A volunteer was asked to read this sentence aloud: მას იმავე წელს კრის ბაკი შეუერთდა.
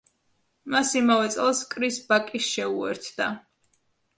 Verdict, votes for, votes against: accepted, 2, 0